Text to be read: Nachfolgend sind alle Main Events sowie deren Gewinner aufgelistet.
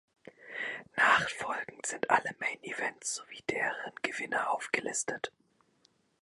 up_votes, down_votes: 1, 2